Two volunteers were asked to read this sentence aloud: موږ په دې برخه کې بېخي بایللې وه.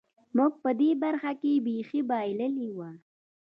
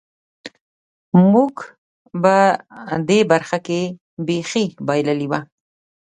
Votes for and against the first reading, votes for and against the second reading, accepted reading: 1, 2, 2, 0, second